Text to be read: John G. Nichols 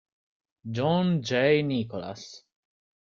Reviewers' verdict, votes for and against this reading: rejected, 0, 2